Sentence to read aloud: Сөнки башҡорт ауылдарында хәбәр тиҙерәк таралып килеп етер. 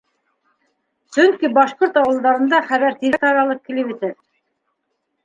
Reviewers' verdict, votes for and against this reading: rejected, 0, 2